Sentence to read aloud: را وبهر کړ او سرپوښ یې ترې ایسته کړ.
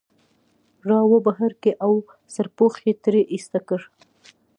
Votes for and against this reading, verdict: 2, 0, accepted